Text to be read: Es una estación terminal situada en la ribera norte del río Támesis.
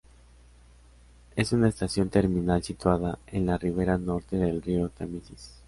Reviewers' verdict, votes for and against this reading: accepted, 2, 0